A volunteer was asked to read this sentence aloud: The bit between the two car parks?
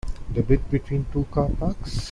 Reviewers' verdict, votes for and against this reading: rejected, 1, 2